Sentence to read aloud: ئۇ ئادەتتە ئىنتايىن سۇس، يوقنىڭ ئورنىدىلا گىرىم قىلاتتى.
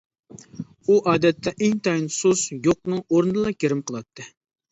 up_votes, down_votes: 2, 0